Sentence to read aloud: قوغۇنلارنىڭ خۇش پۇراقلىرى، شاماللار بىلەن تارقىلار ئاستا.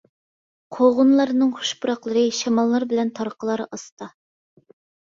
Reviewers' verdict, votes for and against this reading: accepted, 2, 0